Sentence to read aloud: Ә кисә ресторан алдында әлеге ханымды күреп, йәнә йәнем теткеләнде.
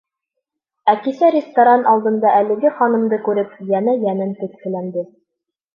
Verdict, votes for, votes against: rejected, 1, 2